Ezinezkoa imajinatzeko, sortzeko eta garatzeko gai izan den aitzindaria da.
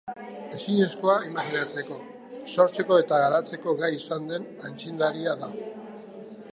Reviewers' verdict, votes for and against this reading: rejected, 0, 2